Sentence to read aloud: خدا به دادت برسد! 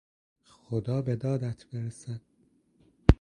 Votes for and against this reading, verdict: 2, 0, accepted